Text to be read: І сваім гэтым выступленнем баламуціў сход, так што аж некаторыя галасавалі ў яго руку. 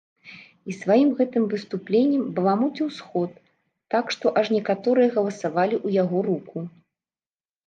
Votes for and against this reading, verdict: 1, 2, rejected